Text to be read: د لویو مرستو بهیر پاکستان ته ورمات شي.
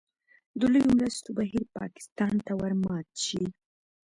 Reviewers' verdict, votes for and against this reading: rejected, 1, 2